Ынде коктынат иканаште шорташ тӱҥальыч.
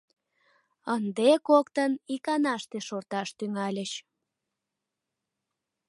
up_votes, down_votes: 0, 2